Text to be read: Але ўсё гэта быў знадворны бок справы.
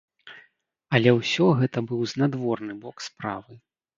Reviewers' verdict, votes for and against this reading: accepted, 2, 0